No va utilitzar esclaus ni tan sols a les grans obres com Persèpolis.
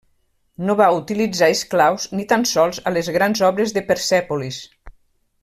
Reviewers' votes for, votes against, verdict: 0, 2, rejected